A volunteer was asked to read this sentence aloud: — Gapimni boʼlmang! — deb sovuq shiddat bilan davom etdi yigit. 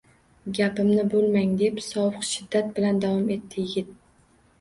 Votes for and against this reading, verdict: 2, 0, accepted